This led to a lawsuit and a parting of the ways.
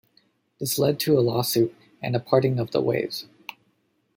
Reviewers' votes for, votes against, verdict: 2, 0, accepted